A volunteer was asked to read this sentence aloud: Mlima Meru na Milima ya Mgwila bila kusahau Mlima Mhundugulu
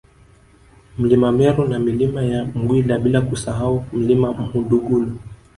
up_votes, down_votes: 1, 2